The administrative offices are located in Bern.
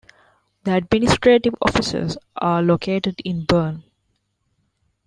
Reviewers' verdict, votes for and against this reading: accepted, 2, 0